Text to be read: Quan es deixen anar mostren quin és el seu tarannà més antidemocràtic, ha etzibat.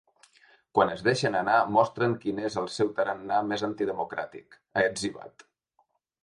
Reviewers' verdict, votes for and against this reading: accepted, 3, 0